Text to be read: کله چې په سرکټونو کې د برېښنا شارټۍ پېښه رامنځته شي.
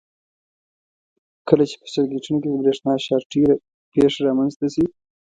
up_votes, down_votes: 2, 0